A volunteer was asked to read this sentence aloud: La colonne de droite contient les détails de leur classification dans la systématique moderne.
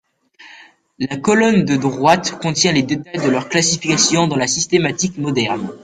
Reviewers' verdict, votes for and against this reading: rejected, 2, 3